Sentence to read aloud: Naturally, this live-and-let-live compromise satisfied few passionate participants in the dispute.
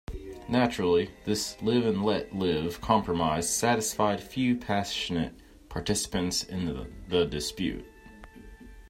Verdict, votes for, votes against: accepted, 2, 0